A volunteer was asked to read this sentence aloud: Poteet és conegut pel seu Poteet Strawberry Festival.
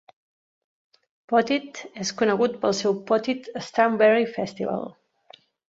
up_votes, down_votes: 2, 0